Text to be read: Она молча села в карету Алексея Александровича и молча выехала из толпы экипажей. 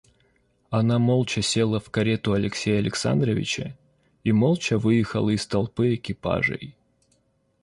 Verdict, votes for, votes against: accepted, 2, 0